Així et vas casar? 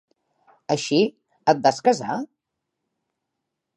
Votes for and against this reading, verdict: 3, 0, accepted